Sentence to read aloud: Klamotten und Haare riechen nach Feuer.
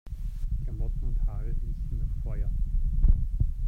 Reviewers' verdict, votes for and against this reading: rejected, 1, 2